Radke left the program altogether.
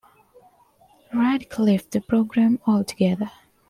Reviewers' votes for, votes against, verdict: 2, 0, accepted